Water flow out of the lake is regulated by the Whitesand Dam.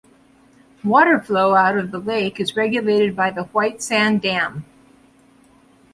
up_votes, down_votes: 2, 0